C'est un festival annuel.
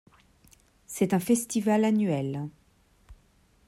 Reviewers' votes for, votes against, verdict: 2, 0, accepted